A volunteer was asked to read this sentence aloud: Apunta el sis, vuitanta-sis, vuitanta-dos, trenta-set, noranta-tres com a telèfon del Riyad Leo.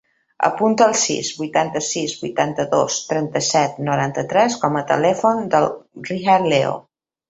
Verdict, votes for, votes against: accepted, 3, 0